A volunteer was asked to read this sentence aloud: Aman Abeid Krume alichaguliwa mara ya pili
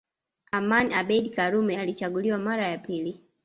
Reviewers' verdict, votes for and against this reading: rejected, 1, 2